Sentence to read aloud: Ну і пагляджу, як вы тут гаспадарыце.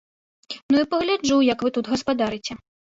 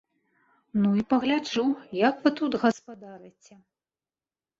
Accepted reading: first